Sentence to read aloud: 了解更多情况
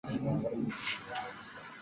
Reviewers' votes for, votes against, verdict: 0, 2, rejected